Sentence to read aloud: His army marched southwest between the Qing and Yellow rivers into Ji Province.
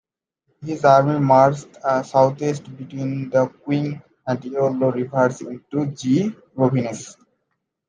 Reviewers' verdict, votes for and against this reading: rejected, 0, 2